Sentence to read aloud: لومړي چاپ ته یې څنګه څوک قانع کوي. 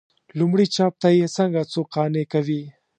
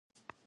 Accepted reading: first